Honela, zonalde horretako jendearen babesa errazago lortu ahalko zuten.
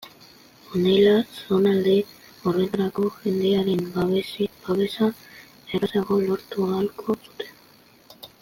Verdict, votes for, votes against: rejected, 0, 3